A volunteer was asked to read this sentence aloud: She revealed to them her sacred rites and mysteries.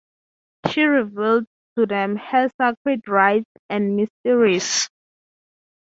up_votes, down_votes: 3, 0